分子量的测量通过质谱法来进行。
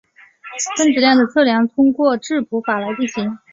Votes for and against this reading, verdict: 3, 1, accepted